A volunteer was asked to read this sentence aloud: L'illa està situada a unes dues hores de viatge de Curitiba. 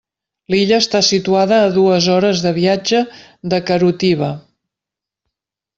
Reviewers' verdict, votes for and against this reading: rejected, 0, 2